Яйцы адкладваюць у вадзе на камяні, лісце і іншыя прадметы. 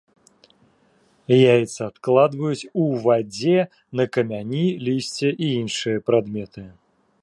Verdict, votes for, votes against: rejected, 0, 2